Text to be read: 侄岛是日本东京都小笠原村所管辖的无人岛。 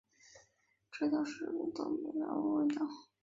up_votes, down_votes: 1, 2